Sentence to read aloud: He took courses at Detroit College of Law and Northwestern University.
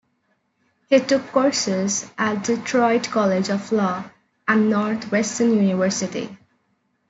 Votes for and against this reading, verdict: 2, 0, accepted